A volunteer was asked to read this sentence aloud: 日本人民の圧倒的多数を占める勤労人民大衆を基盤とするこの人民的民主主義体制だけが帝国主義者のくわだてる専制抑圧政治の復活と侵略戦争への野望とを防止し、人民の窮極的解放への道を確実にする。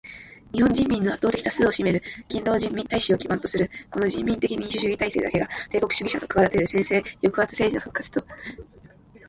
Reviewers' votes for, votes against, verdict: 1, 2, rejected